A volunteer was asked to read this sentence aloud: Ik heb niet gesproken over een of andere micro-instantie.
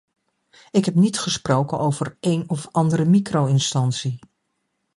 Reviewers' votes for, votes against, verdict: 2, 0, accepted